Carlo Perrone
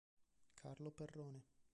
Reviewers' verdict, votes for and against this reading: rejected, 0, 2